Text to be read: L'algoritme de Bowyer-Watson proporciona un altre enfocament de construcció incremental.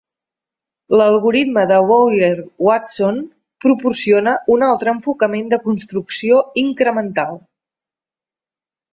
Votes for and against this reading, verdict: 2, 0, accepted